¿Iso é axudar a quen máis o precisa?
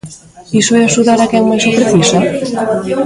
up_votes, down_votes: 1, 2